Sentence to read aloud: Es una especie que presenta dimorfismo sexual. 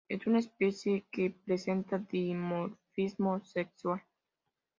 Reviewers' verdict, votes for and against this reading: accepted, 2, 1